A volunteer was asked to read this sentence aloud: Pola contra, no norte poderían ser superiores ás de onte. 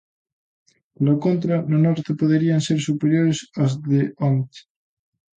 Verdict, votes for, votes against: accepted, 2, 0